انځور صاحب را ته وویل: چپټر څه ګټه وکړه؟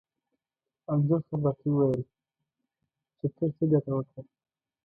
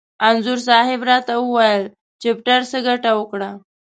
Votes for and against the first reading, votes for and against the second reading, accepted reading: 1, 2, 2, 0, second